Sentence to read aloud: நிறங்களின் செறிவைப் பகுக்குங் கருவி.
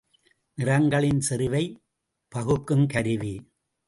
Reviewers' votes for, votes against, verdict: 4, 0, accepted